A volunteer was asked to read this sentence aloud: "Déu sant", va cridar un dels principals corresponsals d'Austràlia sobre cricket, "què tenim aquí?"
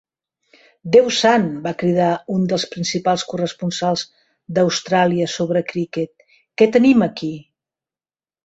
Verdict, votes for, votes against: accepted, 2, 0